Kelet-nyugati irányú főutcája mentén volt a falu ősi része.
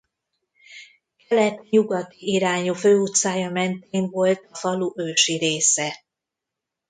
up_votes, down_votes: 0, 2